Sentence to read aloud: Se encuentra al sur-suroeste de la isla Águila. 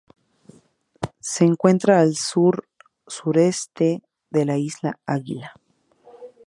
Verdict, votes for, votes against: rejected, 0, 2